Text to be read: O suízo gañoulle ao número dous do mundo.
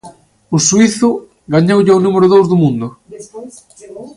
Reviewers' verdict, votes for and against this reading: rejected, 1, 2